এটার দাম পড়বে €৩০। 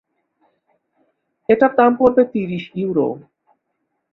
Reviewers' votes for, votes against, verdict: 0, 2, rejected